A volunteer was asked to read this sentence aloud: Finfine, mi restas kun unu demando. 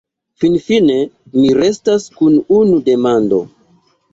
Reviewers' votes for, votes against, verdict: 2, 0, accepted